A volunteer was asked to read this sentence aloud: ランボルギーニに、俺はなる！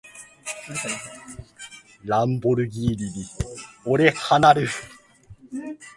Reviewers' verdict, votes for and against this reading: rejected, 1, 2